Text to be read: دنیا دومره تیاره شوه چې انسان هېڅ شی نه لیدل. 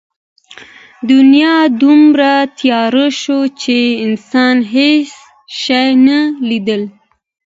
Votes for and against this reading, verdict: 2, 1, accepted